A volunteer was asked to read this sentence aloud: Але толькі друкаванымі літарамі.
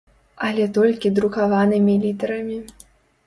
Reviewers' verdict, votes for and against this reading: accepted, 3, 0